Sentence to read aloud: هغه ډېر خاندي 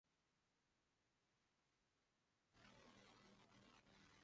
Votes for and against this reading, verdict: 0, 2, rejected